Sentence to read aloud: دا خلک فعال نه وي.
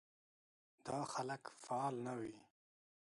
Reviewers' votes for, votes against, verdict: 0, 2, rejected